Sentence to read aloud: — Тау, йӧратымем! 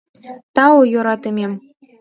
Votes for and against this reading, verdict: 2, 1, accepted